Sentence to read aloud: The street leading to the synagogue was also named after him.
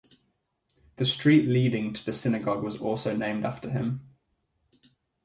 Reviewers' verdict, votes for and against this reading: rejected, 2, 2